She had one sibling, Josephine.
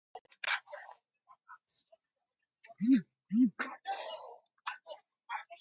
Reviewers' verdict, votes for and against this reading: rejected, 0, 4